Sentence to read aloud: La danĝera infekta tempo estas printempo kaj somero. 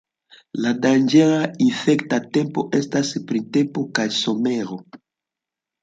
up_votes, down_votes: 2, 1